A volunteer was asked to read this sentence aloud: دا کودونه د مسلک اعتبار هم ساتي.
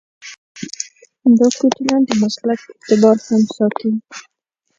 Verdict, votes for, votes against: rejected, 1, 2